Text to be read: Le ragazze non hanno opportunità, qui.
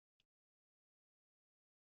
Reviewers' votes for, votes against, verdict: 0, 2, rejected